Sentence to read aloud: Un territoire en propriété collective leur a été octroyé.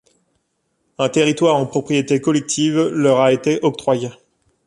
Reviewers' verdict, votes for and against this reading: accepted, 2, 0